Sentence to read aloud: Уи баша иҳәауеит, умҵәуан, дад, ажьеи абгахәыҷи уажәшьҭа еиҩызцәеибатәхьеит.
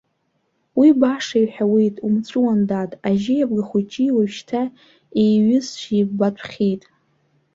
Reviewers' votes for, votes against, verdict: 1, 2, rejected